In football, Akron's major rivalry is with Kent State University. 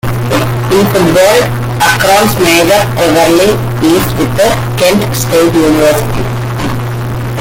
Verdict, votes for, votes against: rejected, 1, 2